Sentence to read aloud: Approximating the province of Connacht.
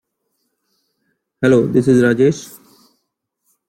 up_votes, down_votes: 0, 2